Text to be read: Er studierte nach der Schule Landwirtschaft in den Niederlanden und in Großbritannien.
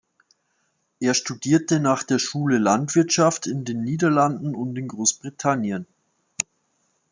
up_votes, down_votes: 2, 0